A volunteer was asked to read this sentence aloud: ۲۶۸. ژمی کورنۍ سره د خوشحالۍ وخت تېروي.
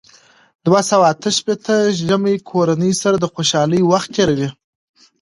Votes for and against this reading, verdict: 0, 2, rejected